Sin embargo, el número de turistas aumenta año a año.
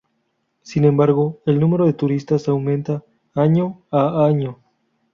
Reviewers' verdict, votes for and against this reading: accepted, 4, 0